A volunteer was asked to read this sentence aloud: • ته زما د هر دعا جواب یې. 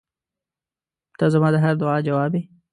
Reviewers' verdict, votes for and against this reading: accepted, 2, 0